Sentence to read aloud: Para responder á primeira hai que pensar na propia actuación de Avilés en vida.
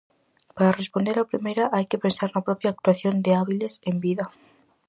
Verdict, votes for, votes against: rejected, 0, 4